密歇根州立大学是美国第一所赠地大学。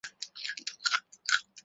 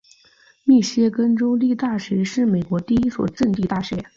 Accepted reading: second